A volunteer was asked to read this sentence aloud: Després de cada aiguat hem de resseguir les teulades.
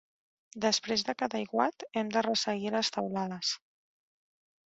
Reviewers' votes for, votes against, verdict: 2, 0, accepted